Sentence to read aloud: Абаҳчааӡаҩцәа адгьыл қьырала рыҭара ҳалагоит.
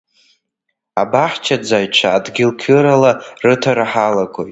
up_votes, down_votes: 2, 1